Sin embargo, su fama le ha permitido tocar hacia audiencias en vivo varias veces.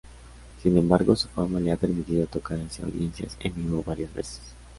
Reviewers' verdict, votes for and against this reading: accepted, 2, 0